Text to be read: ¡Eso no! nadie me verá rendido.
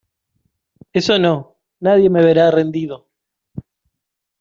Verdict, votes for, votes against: accepted, 2, 0